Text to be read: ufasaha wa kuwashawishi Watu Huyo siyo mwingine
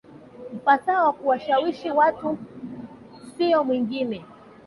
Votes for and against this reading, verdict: 0, 2, rejected